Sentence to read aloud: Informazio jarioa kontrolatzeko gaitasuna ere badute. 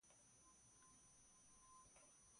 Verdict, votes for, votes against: rejected, 0, 3